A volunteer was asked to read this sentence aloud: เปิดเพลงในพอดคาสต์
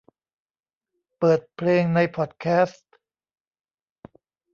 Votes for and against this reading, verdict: 0, 2, rejected